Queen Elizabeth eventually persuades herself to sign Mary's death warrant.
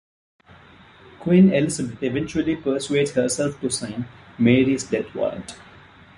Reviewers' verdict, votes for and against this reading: accepted, 2, 0